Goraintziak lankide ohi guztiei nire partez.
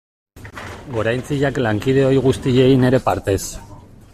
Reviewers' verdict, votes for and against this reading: accepted, 2, 1